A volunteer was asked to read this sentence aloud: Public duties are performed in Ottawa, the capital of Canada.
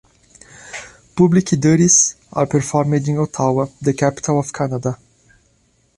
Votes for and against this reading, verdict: 1, 2, rejected